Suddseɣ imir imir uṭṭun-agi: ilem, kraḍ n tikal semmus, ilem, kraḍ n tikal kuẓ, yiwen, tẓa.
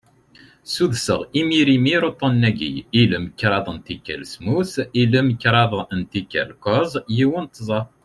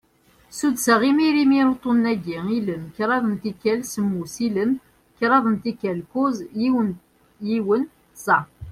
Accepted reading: first